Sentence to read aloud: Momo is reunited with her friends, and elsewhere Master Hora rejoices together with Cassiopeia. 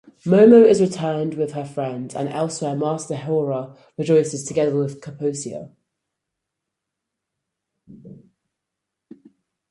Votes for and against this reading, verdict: 0, 4, rejected